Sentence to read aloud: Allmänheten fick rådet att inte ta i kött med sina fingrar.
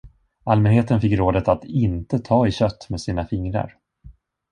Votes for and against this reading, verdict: 2, 0, accepted